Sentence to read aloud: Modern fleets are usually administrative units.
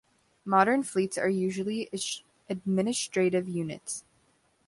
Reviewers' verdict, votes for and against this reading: rejected, 1, 2